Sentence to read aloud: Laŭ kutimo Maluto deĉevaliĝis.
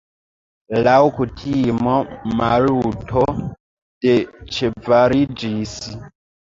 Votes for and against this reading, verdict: 3, 0, accepted